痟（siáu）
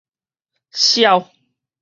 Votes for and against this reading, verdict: 4, 0, accepted